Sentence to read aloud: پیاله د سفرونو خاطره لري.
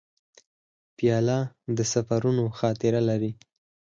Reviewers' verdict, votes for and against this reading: rejected, 2, 4